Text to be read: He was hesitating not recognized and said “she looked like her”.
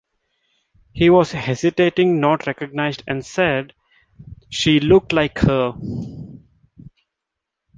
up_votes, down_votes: 2, 0